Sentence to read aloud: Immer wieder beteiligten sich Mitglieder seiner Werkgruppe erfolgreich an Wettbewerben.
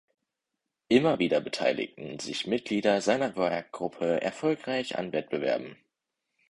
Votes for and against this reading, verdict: 2, 4, rejected